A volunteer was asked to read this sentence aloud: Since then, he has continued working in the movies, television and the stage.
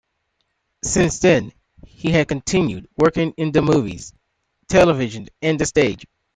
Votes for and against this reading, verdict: 2, 0, accepted